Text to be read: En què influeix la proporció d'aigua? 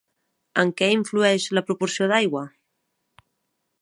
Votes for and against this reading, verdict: 3, 0, accepted